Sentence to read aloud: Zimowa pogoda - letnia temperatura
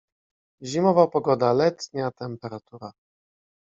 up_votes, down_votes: 2, 0